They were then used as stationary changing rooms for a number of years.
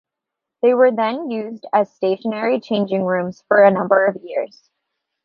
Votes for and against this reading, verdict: 2, 0, accepted